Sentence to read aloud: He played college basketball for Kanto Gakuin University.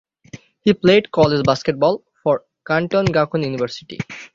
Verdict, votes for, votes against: accepted, 6, 0